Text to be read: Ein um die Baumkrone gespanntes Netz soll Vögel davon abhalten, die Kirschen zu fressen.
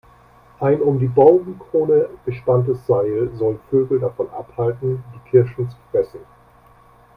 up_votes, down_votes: 0, 2